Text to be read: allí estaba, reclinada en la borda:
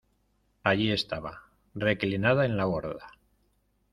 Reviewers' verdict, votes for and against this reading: accepted, 2, 0